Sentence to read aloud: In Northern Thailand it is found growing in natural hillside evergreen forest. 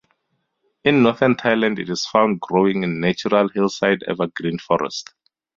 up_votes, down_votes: 2, 0